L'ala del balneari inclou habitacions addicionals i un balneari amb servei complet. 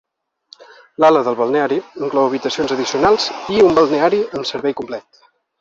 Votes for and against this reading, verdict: 1, 2, rejected